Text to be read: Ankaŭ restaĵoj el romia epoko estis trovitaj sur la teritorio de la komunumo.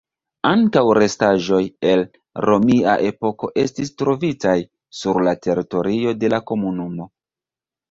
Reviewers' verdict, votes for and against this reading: accepted, 2, 1